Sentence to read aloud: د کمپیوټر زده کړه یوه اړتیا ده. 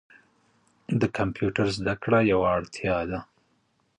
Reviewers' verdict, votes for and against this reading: rejected, 1, 2